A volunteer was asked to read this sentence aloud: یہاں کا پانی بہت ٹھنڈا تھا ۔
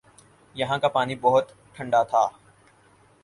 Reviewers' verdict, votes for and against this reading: accepted, 6, 0